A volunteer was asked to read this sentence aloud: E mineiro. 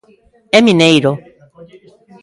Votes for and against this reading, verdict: 2, 0, accepted